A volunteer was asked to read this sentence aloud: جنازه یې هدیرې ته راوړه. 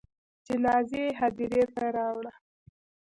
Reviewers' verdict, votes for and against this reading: rejected, 1, 2